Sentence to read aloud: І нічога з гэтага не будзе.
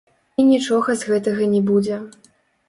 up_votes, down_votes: 0, 2